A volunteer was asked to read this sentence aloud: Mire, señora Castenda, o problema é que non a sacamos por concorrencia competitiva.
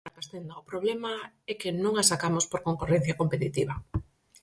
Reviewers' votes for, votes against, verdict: 0, 4, rejected